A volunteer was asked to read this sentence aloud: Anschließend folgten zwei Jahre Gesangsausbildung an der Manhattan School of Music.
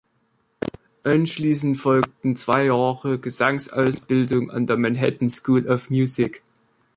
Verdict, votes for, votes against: accepted, 2, 0